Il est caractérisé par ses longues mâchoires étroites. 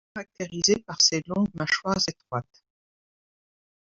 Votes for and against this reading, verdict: 0, 2, rejected